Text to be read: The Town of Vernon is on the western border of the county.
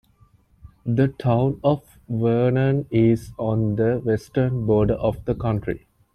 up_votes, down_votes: 2, 0